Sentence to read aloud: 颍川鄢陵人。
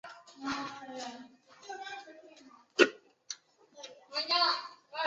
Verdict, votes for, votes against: rejected, 1, 2